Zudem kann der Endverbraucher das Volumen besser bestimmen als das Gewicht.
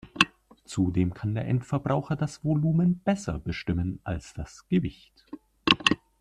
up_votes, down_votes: 2, 0